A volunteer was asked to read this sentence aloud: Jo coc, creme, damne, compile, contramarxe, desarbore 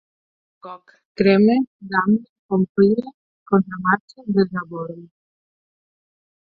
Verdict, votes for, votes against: rejected, 0, 8